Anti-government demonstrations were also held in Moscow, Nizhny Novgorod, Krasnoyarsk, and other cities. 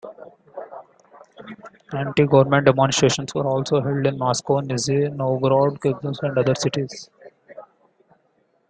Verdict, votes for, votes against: accepted, 2, 0